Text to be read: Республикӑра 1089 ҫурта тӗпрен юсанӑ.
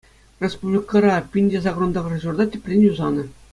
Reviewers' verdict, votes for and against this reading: rejected, 0, 2